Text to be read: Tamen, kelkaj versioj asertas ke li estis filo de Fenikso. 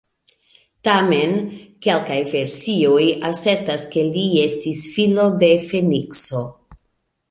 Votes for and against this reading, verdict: 2, 1, accepted